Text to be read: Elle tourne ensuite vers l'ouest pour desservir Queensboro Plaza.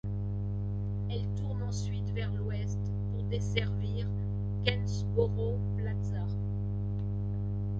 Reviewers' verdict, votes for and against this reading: rejected, 1, 2